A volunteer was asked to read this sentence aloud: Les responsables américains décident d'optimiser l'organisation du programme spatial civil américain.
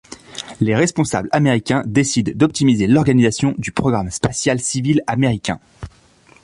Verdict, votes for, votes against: accepted, 2, 0